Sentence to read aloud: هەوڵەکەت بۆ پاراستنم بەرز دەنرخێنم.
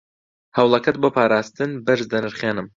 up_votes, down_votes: 1, 2